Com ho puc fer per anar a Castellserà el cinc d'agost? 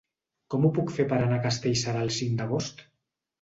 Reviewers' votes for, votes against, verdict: 2, 0, accepted